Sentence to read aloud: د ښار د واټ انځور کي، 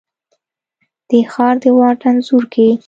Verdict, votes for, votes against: accepted, 2, 0